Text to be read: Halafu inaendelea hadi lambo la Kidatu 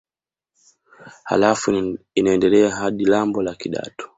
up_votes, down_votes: 2, 0